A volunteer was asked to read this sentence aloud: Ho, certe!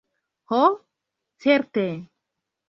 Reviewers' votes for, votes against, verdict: 2, 1, accepted